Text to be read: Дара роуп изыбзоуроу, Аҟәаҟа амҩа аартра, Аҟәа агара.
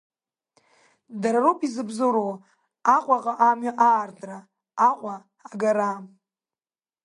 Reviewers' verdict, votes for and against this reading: accepted, 2, 1